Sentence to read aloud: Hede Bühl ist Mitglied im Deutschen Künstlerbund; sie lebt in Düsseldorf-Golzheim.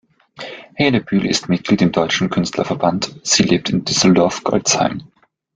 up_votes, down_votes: 0, 2